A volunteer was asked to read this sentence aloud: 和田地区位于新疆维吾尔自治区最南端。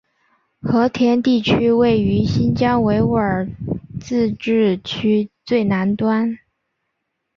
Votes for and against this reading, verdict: 1, 2, rejected